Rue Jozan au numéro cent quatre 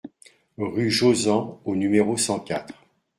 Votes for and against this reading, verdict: 2, 0, accepted